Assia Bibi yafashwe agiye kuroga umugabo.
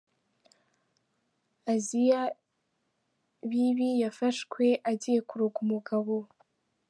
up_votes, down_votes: 4, 1